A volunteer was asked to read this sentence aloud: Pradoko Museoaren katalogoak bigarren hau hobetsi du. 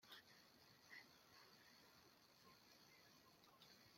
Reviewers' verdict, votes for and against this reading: rejected, 0, 2